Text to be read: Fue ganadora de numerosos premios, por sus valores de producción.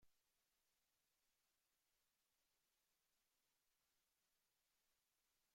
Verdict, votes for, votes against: rejected, 0, 2